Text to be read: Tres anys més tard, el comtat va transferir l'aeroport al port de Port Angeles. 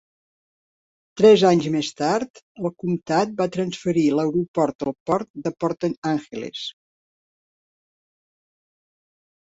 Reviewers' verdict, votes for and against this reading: rejected, 2, 3